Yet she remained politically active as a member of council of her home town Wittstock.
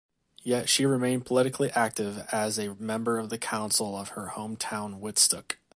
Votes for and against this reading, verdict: 0, 2, rejected